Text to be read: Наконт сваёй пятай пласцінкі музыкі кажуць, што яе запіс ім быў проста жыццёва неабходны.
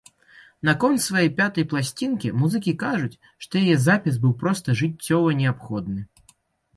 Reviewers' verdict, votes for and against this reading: rejected, 0, 2